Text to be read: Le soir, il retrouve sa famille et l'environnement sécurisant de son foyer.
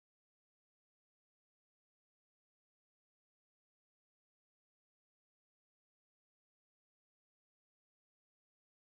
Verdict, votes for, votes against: rejected, 0, 2